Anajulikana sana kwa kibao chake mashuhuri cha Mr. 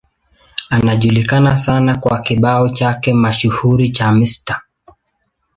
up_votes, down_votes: 2, 0